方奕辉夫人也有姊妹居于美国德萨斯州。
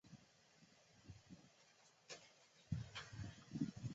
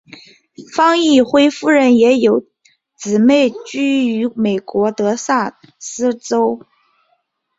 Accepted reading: second